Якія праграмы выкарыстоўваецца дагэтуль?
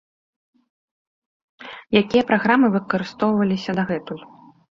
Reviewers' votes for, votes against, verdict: 1, 2, rejected